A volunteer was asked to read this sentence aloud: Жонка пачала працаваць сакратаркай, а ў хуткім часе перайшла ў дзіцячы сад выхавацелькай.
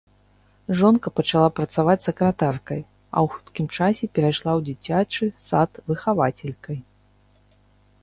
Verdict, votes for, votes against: accepted, 2, 0